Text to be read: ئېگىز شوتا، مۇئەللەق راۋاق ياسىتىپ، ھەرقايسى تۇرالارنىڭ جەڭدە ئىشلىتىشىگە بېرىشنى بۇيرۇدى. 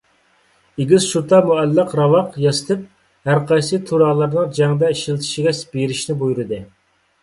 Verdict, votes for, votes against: rejected, 1, 2